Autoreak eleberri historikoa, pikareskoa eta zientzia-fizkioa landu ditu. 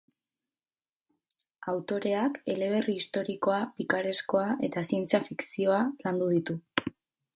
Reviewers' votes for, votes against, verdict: 4, 0, accepted